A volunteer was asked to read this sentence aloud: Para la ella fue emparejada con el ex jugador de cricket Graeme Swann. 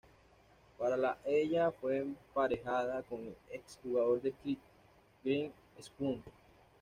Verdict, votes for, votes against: rejected, 1, 2